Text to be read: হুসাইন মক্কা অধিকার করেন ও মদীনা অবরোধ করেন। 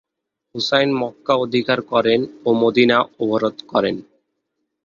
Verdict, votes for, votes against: rejected, 1, 2